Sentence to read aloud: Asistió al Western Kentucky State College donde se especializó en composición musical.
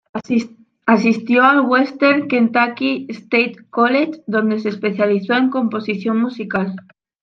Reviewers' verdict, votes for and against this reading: accepted, 2, 1